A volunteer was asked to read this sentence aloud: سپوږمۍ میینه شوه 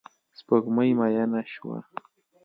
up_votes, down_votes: 2, 0